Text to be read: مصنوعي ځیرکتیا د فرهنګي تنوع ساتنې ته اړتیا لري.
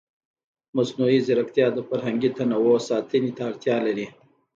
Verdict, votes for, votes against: accepted, 2, 0